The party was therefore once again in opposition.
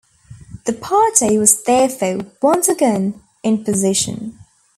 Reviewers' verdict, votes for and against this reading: rejected, 0, 2